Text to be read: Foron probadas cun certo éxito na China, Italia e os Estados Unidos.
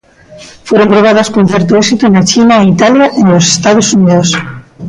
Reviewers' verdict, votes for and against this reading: accepted, 2, 1